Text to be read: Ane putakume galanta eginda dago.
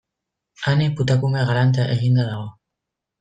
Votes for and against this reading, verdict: 1, 2, rejected